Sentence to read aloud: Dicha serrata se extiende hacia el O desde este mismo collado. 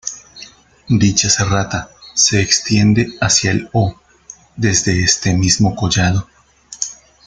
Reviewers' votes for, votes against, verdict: 2, 1, accepted